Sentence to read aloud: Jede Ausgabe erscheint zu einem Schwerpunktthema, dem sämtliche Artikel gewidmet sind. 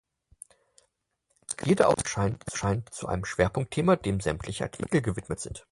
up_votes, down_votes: 0, 4